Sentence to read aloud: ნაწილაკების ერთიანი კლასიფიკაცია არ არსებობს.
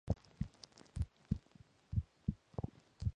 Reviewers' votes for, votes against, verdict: 0, 4, rejected